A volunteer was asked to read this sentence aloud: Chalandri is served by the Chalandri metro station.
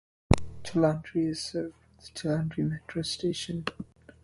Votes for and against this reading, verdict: 0, 2, rejected